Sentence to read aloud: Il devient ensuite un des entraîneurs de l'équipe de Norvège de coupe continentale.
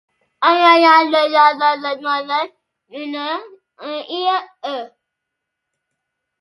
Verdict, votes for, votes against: rejected, 0, 2